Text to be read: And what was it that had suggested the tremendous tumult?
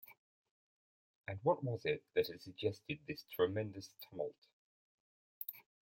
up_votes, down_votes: 0, 2